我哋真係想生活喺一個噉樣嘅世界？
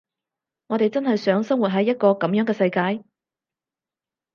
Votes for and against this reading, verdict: 4, 0, accepted